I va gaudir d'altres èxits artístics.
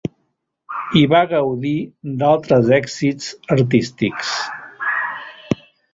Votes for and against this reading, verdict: 1, 2, rejected